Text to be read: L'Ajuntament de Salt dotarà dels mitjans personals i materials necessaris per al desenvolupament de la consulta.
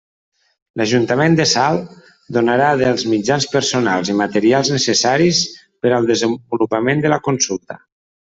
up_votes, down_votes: 0, 2